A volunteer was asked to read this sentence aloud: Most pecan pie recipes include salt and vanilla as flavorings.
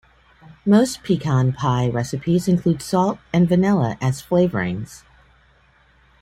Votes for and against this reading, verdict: 2, 0, accepted